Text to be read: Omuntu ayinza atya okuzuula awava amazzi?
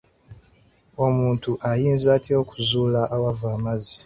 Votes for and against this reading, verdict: 3, 0, accepted